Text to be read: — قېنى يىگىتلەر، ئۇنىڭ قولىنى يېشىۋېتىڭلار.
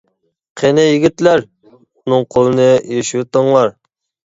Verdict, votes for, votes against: accepted, 2, 0